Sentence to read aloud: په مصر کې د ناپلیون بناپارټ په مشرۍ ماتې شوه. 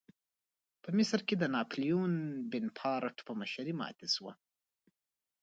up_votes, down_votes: 2, 0